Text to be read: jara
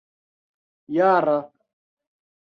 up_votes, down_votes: 0, 2